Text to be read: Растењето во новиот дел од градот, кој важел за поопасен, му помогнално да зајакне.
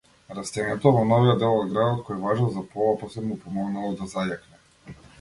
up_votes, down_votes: 1, 2